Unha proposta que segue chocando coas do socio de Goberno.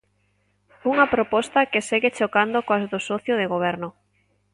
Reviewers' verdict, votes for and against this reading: accepted, 2, 0